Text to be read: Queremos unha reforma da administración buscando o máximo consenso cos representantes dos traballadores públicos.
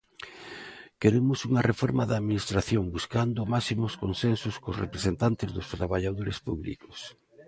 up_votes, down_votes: 1, 2